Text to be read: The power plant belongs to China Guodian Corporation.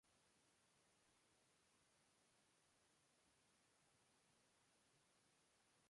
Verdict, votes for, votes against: rejected, 0, 2